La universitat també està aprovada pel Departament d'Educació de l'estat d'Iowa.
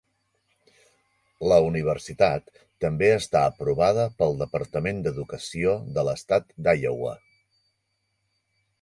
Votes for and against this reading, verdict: 4, 0, accepted